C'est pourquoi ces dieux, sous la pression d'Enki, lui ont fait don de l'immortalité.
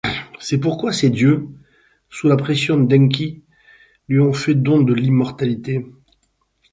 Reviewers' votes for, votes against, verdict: 4, 0, accepted